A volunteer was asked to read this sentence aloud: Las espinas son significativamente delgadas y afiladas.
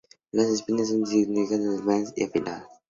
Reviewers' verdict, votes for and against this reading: rejected, 0, 2